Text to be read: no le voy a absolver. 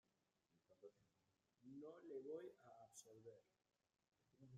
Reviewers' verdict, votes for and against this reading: rejected, 0, 2